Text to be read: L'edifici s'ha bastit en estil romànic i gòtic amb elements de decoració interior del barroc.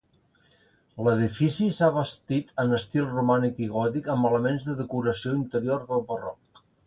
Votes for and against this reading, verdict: 3, 0, accepted